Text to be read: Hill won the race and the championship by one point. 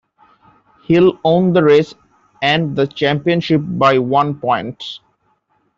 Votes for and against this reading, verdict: 0, 2, rejected